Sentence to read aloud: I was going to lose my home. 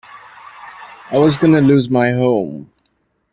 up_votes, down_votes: 1, 2